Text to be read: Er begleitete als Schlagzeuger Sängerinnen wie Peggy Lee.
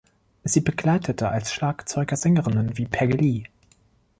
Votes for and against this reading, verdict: 1, 2, rejected